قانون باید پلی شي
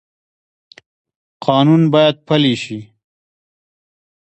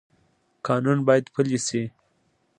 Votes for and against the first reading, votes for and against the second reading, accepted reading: 0, 2, 2, 0, second